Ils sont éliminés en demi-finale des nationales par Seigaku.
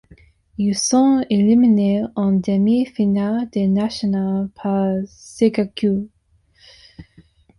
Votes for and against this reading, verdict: 2, 0, accepted